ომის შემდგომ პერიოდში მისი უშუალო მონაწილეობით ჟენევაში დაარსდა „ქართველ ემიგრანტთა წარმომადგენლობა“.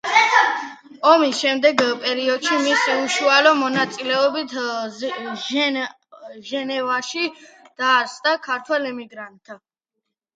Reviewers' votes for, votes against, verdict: 0, 2, rejected